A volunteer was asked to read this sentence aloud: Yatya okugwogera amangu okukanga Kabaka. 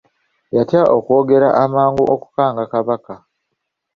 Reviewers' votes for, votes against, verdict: 2, 0, accepted